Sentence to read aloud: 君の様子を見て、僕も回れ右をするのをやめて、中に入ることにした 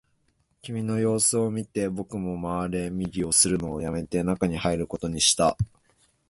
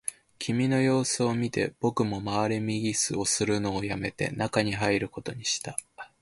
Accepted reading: first